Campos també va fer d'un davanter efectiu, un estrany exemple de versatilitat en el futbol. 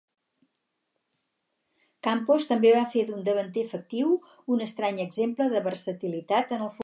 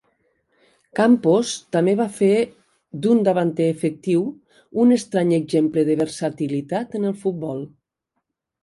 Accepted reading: second